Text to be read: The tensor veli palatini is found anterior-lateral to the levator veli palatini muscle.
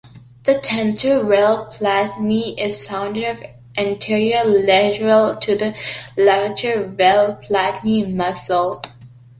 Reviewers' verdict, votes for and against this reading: rejected, 1, 3